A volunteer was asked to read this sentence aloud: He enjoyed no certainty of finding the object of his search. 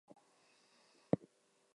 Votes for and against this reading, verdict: 0, 4, rejected